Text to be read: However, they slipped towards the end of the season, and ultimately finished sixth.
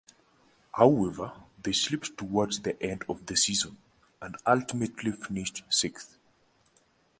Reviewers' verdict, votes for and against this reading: rejected, 1, 2